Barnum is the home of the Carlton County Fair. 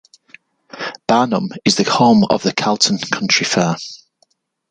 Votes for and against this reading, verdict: 1, 2, rejected